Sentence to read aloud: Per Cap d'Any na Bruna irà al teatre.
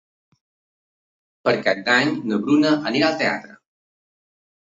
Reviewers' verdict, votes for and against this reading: rejected, 0, 2